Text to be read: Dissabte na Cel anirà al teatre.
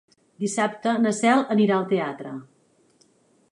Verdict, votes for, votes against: accepted, 4, 0